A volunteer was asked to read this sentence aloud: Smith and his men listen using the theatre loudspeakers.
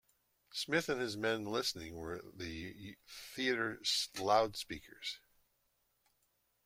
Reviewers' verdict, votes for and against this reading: rejected, 0, 2